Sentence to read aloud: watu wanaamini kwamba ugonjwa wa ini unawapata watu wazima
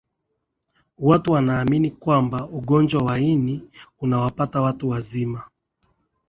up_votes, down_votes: 1, 2